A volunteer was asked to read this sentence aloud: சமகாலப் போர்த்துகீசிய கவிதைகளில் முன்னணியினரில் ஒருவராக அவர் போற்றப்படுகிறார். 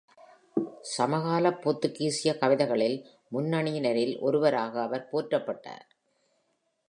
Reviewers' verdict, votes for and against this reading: rejected, 0, 2